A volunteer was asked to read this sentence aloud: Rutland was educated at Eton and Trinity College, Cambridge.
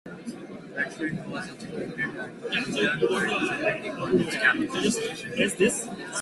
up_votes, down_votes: 0, 2